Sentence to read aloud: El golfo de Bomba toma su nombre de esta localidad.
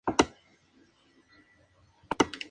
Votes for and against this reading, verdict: 2, 0, accepted